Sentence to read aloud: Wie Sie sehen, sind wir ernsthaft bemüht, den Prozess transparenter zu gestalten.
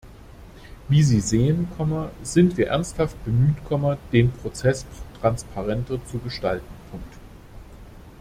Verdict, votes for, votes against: rejected, 0, 2